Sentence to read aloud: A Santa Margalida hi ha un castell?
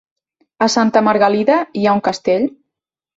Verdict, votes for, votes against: accepted, 3, 0